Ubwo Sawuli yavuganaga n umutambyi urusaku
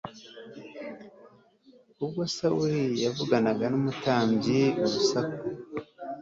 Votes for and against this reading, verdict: 2, 0, accepted